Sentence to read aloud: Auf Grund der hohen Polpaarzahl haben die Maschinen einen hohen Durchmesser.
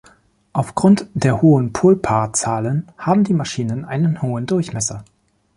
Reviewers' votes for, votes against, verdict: 0, 2, rejected